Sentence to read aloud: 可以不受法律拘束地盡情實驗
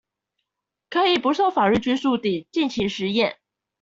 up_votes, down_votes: 2, 0